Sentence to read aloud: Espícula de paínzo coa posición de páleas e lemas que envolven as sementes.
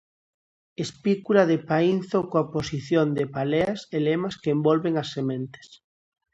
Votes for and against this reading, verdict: 0, 2, rejected